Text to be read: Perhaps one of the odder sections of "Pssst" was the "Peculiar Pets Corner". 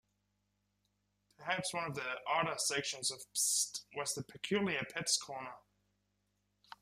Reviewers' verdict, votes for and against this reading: accepted, 4, 0